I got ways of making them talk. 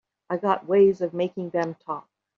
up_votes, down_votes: 0, 2